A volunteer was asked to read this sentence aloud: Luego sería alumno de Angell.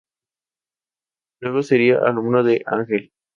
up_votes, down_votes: 0, 2